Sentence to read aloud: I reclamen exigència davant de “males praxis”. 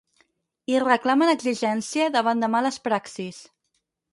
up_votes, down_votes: 2, 2